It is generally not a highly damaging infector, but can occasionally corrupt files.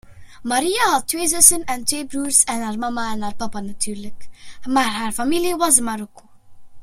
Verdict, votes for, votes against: accepted, 2, 1